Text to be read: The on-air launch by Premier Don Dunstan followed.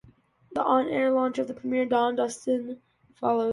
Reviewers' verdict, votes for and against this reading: rejected, 0, 2